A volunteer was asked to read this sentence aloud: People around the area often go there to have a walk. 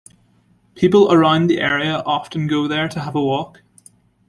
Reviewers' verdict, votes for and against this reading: accepted, 2, 1